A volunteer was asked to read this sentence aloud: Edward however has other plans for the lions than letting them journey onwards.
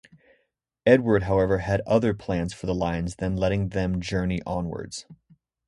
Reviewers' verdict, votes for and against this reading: rejected, 2, 2